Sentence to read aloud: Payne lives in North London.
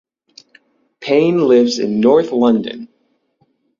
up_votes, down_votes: 6, 0